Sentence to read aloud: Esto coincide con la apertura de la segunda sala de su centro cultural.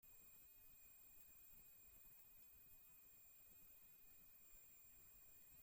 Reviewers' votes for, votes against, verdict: 0, 2, rejected